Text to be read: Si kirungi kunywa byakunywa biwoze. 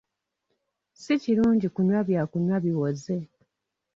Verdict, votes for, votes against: rejected, 1, 2